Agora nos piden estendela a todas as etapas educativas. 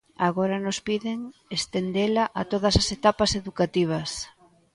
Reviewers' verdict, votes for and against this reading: accepted, 2, 0